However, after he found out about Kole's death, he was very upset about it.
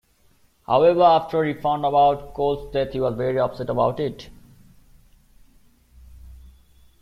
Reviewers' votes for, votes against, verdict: 2, 1, accepted